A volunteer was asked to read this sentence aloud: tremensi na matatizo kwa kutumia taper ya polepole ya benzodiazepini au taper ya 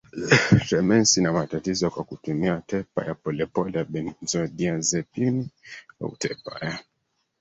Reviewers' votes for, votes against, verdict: 1, 2, rejected